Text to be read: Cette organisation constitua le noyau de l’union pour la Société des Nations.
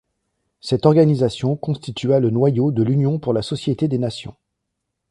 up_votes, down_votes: 2, 1